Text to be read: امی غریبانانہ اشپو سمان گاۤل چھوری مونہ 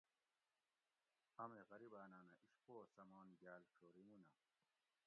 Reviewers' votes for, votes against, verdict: 1, 2, rejected